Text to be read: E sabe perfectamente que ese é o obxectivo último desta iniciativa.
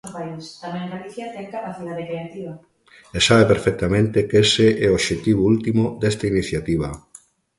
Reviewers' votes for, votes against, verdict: 0, 2, rejected